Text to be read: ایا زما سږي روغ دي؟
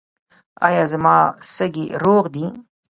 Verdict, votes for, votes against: rejected, 1, 2